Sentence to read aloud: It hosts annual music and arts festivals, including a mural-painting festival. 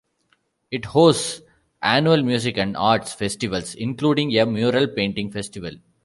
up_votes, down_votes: 2, 0